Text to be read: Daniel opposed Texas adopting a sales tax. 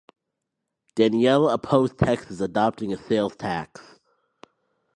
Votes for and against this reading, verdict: 0, 2, rejected